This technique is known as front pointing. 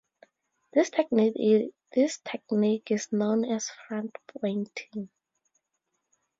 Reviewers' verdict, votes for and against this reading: rejected, 0, 4